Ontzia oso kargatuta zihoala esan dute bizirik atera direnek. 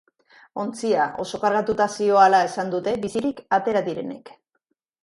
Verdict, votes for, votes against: accepted, 2, 0